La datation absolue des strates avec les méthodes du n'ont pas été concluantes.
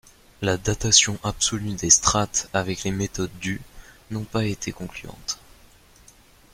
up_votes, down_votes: 1, 2